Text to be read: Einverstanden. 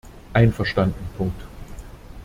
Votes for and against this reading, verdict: 0, 2, rejected